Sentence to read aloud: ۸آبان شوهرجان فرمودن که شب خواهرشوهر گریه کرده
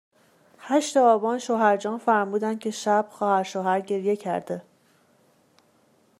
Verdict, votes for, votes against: rejected, 0, 2